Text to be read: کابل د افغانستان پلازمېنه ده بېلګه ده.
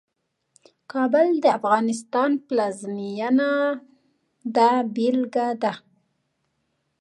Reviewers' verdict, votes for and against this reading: accepted, 2, 0